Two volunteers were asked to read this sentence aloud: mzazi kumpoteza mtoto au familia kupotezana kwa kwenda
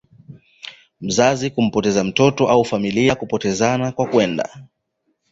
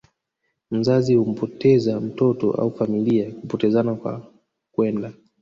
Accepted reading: first